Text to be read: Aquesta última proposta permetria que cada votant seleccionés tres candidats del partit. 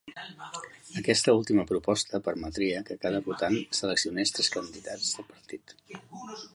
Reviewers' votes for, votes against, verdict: 2, 1, accepted